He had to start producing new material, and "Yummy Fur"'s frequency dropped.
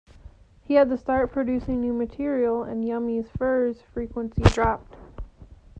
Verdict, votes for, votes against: accepted, 2, 1